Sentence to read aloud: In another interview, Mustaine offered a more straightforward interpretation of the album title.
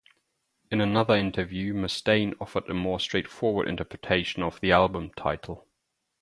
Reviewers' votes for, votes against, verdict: 2, 0, accepted